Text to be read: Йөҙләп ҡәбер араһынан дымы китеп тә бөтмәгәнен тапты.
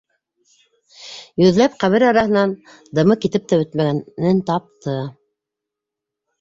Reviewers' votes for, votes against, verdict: 2, 1, accepted